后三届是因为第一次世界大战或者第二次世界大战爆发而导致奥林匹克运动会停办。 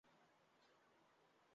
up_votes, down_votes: 1, 2